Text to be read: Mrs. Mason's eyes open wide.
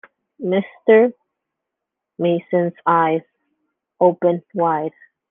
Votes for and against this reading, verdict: 1, 2, rejected